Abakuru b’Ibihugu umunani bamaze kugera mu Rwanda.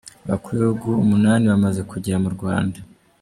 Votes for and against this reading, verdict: 1, 2, rejected